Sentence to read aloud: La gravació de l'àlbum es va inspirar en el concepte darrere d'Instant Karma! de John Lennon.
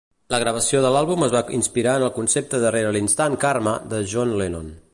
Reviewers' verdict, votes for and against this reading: rejected, 1, 2